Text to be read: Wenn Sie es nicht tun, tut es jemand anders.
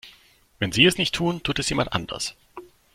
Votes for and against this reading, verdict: 2, 0, accepted